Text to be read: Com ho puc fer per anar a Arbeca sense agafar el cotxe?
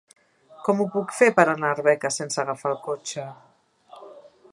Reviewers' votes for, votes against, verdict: 3, 0, accepted